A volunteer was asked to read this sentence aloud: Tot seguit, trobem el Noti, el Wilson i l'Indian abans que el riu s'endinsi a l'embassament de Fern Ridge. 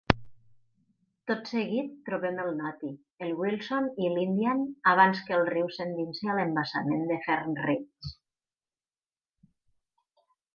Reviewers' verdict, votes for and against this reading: accepted, 4, 0